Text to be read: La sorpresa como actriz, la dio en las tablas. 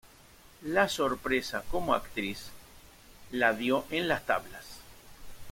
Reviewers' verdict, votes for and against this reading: accepted, 2, 1